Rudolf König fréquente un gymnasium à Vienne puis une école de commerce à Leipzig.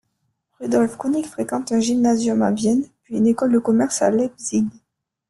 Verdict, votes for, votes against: rejected, 1, 2